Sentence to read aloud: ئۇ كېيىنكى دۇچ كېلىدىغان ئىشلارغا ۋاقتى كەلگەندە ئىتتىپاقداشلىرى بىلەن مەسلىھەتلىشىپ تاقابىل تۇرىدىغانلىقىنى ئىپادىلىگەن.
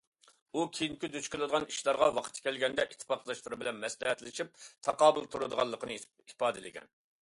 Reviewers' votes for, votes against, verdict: 2, 0, accepted